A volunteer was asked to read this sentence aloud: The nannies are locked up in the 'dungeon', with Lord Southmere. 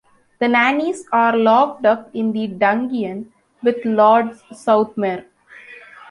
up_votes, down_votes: 2, 0